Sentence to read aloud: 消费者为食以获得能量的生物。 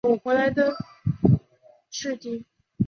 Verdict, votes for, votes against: rejected, 0, 4